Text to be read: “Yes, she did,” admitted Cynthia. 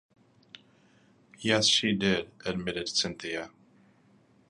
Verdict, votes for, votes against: accepted, 2, 0